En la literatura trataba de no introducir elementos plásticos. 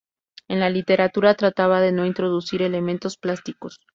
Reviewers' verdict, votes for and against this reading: accepted, 2, 0